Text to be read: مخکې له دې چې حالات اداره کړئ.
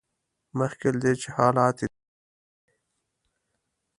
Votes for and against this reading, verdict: 1, 2, rejected